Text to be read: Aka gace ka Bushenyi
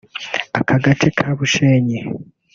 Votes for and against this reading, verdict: 2, 1, accepted